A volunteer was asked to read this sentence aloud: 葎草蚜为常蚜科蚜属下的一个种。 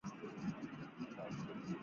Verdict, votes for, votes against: rejected, 0, 4